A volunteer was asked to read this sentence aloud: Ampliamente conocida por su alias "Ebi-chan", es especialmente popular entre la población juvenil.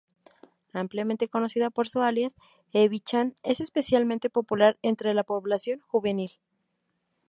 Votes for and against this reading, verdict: 2, 0, accepted